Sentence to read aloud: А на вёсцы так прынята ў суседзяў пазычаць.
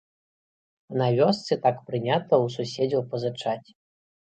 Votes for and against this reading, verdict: 1, 2, rejected